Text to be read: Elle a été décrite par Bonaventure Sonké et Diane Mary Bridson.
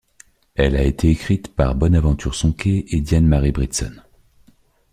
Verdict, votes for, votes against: rejected, 1, 2